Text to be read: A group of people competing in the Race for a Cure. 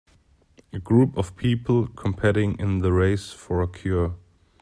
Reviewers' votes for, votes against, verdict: 2, 1, accepted